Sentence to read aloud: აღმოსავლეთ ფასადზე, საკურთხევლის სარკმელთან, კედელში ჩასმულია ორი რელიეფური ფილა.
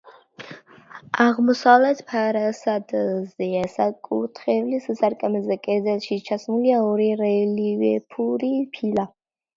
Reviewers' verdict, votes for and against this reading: rejected, 0, 2